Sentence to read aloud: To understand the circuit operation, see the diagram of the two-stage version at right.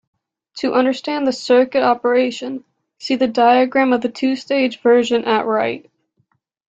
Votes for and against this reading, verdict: 2, 0, accepted